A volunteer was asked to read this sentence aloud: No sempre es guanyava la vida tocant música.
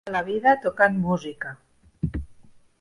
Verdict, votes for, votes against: rejected, 0, 2